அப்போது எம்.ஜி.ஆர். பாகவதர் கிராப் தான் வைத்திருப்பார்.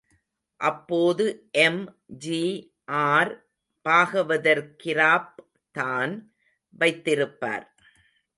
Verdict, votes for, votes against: accepted, 2, 0